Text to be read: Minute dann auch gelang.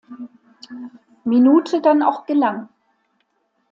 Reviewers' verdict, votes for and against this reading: accepted, 2, 0